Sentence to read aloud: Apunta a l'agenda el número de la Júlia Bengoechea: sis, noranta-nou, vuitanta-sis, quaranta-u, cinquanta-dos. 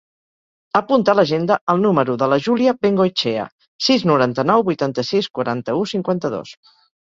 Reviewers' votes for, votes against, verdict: 2, 4, rejected